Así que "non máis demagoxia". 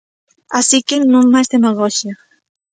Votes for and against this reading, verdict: 2, 0, accepted